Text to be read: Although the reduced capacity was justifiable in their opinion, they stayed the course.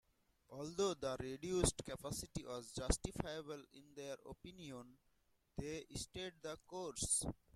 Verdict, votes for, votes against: rejected, 0, 2